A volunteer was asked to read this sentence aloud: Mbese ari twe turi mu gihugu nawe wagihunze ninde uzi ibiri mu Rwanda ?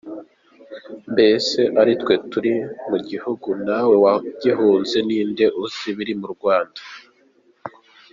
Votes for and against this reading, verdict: 2, 0, accepted